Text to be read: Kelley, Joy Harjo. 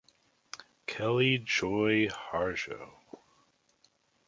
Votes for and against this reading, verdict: 2, 0, accepted